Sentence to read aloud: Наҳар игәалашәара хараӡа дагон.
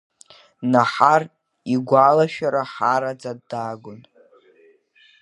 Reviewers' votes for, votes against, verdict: 0, 2, rejected